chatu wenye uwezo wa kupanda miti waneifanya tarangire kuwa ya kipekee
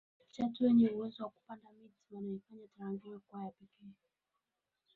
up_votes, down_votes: 0, 2